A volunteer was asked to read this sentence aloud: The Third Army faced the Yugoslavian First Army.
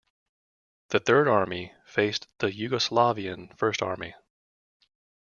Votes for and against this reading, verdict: 2, 1, accepted